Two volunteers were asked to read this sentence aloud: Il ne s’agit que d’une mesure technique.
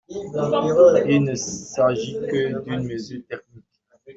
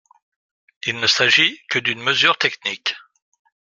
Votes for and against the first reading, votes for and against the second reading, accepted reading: 0, 2, 2, 0, second